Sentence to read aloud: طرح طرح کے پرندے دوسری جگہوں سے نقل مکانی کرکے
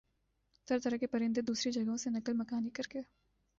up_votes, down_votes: 2, 0